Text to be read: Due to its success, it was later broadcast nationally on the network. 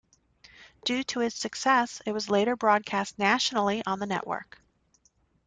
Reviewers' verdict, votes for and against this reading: accepted, 2, 0